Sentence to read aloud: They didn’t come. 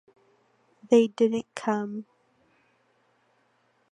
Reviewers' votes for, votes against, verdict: 2, 0, accepted